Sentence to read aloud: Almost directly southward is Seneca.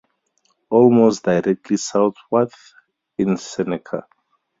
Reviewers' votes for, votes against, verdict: 2, 2, rejected